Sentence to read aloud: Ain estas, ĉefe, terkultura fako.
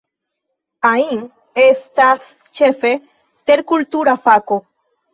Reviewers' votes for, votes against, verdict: 2, 3, rejected